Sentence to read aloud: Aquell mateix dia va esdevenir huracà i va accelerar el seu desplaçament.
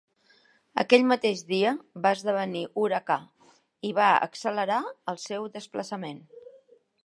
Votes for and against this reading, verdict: 3, 0, accepted